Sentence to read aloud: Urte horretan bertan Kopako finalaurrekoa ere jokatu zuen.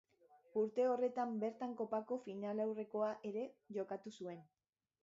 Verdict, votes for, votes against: rejected, 1, 2